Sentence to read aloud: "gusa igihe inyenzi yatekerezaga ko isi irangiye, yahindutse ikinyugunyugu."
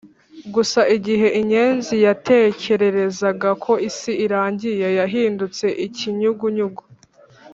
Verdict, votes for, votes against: rejected, 1, 2